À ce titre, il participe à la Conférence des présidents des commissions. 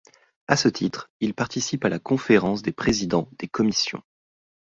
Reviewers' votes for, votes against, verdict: 2, 0, accepted